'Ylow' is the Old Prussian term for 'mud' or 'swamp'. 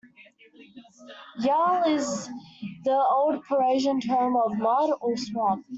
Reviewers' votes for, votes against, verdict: 2, 0, accepted